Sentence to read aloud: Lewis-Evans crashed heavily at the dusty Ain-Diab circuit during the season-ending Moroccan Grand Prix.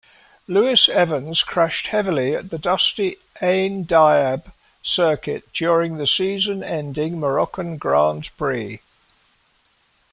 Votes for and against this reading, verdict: 2, 0, accepted